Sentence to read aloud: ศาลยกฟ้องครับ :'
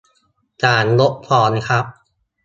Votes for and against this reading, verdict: 1, 2, rejected